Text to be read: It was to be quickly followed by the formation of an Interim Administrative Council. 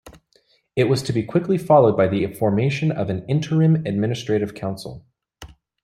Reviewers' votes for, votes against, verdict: 0, 2, rejected